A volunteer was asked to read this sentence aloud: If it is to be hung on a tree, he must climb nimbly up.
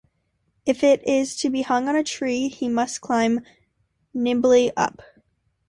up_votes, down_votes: 2, 0